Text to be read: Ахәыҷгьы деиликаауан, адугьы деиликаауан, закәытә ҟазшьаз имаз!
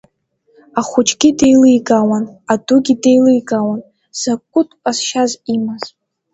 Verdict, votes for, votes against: accepted, 2, 0